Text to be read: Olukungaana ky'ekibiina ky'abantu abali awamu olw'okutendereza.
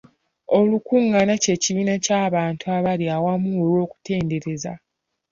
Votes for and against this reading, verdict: 3, 1, accepted